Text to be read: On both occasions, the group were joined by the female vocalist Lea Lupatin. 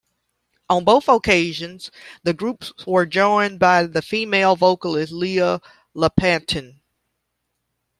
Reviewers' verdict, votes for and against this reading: rejected, 0, 2